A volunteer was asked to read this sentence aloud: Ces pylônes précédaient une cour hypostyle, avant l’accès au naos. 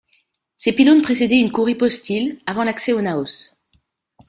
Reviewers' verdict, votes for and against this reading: accepted, 2, 0